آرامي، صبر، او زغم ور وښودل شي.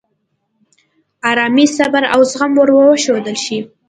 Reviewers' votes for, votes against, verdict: 2, 0, accepted